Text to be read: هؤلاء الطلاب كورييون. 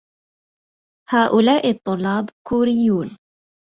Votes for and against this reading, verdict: 2, 0, accepted